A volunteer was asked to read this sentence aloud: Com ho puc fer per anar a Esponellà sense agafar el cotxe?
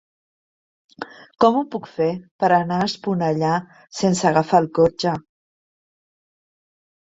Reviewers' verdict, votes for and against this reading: accepted, 3, 1